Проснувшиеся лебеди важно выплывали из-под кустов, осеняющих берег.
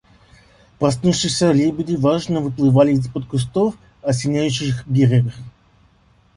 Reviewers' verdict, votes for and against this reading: accepted, 2, 0